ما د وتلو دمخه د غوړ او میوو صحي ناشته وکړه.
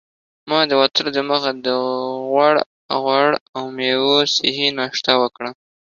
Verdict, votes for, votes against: accepted, 2, 0